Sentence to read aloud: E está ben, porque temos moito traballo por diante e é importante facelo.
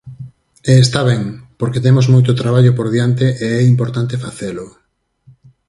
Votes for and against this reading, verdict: 4, 0, accepted